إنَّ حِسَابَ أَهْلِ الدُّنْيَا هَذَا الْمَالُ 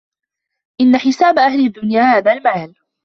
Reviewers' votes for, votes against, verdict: 2, 0, accepted